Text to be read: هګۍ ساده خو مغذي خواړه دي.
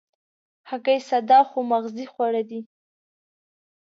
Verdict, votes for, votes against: accepted, 2, 1